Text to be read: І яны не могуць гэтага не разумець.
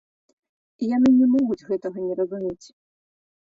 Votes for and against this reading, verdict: 3, 0, accepted